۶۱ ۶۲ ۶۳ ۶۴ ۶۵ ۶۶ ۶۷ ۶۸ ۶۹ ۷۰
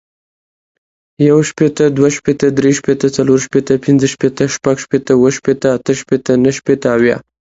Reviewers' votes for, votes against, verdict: 0, 2, rejected